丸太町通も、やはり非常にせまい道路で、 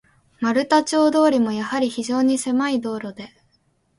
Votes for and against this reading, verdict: 2, 0, accepted